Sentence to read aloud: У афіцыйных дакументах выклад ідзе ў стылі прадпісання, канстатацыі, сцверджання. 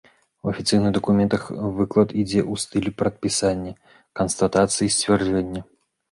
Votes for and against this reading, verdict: 1, 2, rejected